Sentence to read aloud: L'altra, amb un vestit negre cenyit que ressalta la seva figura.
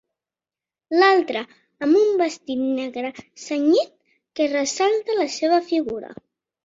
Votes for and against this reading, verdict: 2, 0, accepted